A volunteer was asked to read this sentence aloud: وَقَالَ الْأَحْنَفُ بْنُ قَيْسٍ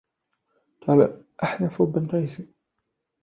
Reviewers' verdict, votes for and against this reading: rejected, 1, 2